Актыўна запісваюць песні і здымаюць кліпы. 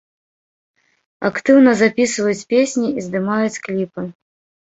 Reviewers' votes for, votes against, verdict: 2, 0, accepted